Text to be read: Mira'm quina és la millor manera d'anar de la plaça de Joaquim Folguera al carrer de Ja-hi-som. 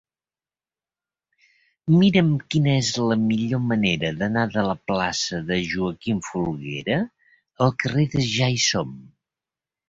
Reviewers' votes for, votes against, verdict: 2, 1, accepted